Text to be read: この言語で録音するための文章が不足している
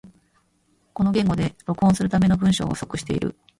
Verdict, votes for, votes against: rejected, 0, 2